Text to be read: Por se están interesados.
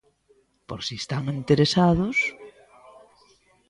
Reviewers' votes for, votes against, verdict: 0, 2, rejected